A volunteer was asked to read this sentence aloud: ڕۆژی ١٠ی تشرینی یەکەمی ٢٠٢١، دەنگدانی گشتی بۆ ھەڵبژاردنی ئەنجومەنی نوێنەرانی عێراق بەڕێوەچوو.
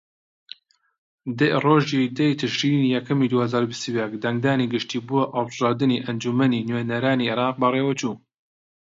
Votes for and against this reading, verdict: 0, 2, rejected